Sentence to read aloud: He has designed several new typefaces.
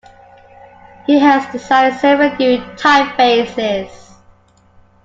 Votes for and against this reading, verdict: 2, 1, accepted